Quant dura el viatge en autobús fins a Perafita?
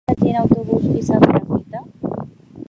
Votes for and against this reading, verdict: 1, 2, rejected